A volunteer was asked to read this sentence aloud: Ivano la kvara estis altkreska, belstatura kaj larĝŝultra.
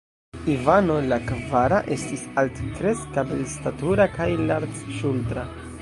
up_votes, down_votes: 1, 2